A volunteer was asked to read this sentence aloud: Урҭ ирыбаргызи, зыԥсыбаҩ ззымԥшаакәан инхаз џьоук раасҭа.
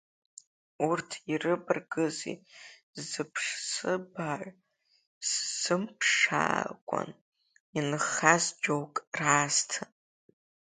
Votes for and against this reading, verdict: 0, 2, rejected